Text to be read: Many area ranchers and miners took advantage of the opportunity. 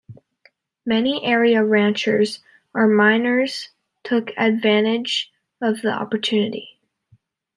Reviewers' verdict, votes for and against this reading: rejected, 0, 2